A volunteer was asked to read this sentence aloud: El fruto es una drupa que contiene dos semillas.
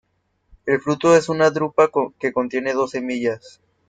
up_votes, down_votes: 2, 0